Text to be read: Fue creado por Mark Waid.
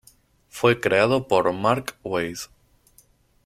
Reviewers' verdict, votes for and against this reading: rejected, 2, 2